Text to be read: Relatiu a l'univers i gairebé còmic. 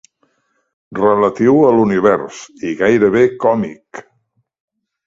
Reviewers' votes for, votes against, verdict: 4, 0, accepted